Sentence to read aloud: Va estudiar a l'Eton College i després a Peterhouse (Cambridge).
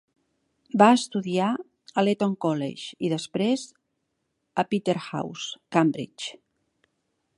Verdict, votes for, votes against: accepted, 3, 1